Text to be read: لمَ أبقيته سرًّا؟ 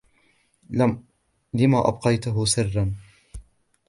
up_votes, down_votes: 1, 3